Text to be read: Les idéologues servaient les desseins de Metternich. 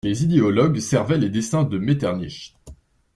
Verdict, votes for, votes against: accepted, 2, 0